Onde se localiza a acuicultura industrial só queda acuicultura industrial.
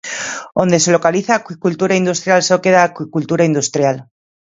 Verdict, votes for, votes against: accepted, 2, 0